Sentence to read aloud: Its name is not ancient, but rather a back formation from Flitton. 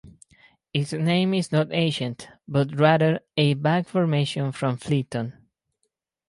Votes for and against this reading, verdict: 4, 0, accepted